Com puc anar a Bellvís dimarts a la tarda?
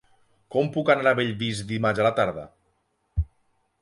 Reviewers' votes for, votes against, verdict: 6, 0, accepted